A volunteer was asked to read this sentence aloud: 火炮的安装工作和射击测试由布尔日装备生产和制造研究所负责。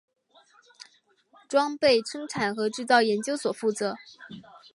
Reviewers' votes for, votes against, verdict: 1, 2, rejected